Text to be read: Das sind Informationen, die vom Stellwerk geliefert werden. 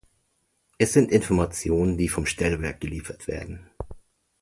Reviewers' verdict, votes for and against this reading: rejected, 0, 2